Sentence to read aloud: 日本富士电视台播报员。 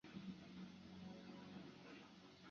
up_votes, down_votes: 1, 3